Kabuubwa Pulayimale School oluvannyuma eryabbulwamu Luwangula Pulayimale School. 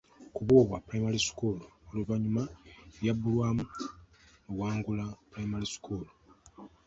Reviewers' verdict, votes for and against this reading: rejected, 1, 2